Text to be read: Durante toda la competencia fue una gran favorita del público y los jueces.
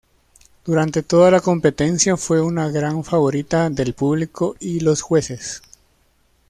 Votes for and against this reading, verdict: 2, 0, accepted